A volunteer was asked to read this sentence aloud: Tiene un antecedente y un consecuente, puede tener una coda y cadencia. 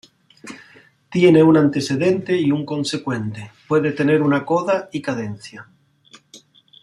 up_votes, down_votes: 1, 2